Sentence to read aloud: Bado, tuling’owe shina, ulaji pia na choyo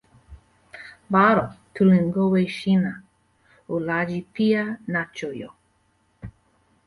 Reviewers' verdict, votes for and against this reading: rejected, 0, 2